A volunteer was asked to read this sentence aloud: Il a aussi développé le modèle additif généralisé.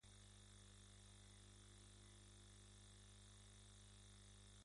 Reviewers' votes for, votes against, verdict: 1, 2, rejected